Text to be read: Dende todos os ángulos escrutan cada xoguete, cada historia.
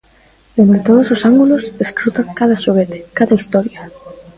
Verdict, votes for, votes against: rejected, 1, 2